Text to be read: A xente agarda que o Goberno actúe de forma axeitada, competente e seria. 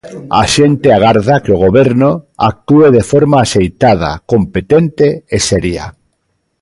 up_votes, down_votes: 0, 2